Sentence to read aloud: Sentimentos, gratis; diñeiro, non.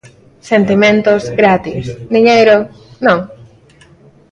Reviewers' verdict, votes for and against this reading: rejected, 1, 2